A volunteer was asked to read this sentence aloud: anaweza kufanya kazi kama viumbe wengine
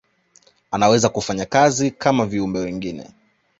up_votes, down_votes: 0, 2